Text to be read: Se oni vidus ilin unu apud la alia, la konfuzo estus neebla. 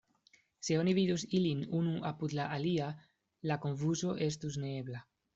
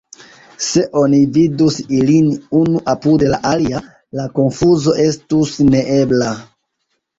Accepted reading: first